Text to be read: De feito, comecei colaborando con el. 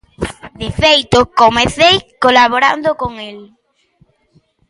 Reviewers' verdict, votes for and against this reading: accepted, 2, 0